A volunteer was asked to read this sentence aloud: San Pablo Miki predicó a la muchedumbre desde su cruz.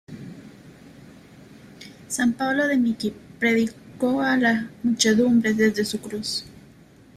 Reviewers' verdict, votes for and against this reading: rejected, 0, 2